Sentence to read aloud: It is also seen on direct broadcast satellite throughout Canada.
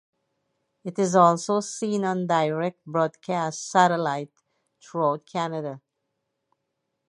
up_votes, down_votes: 2, 2